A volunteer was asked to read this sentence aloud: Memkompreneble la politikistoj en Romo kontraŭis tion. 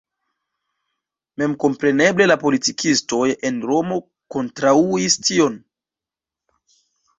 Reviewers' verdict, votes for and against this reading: rejected, 0, 2